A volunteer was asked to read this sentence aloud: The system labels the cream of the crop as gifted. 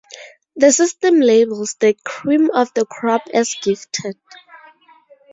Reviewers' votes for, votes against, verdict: 2, 0, accepted